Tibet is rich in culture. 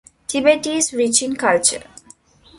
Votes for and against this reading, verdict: 2, 0, accepted